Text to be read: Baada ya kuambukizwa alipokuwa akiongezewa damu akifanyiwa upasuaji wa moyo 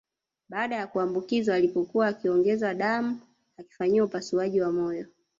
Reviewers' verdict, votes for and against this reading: rejected, 0, 2